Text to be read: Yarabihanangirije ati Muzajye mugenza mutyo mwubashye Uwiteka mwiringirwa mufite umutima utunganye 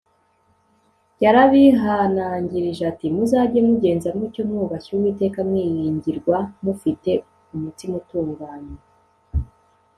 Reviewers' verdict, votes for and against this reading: accepted, 2, 0